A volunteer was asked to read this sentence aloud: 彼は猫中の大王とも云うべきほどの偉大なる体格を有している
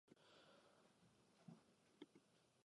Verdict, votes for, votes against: rejected, 0, 2